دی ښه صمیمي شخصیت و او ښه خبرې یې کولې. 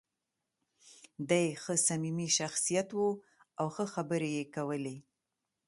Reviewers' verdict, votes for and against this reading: accepted, 2, 0